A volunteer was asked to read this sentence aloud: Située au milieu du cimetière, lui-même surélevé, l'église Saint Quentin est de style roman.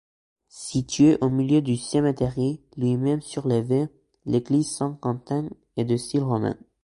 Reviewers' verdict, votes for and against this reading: rejected, 0, 2